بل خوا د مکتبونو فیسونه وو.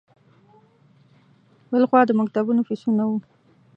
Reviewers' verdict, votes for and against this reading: accepted, 2, 0